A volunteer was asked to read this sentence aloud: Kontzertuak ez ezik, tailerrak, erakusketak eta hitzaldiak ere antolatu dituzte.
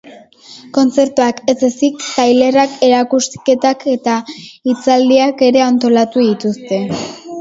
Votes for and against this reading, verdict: 2, 0, accepted